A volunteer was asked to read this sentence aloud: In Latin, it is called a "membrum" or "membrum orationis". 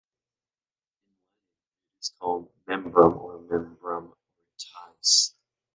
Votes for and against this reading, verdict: 0, 2, rejected